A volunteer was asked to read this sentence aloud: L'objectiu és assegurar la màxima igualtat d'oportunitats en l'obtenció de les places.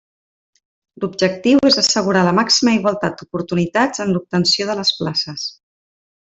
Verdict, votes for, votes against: accepted, 4, 0